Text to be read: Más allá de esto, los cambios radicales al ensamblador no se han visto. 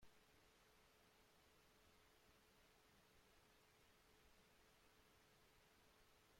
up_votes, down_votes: 0, 2